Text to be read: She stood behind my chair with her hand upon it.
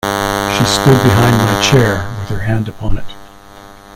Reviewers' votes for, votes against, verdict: 1, 2, rejected